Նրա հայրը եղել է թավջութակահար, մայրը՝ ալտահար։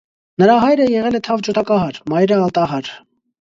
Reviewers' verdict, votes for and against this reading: rejected, 0, 2